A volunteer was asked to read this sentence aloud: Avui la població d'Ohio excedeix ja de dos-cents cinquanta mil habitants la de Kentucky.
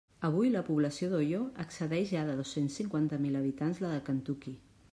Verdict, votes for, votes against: rejected, 0, 2